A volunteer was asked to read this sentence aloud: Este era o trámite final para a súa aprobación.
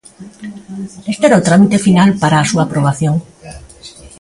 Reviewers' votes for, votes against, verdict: 1, 2, rejected